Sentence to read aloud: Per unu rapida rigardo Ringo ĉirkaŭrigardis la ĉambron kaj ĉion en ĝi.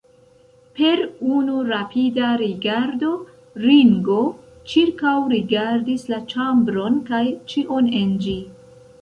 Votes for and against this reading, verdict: 0, 2, rejected